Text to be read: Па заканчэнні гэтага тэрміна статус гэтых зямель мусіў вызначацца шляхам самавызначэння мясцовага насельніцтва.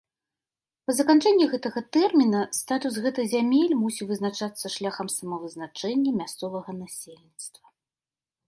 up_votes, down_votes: 2, 0